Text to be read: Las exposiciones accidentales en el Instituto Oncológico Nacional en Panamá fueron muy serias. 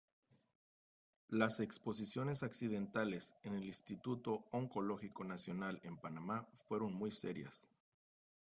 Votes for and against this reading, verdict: 1, 2, rejected